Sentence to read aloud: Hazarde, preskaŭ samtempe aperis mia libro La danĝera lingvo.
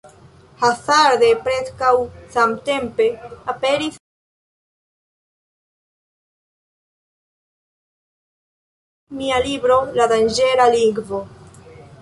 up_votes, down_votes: 0, 2